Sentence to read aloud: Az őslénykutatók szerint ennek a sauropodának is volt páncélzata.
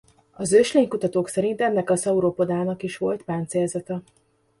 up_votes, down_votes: 2, 0